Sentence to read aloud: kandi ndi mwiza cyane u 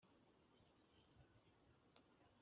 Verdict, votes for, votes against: rejected, 1, 2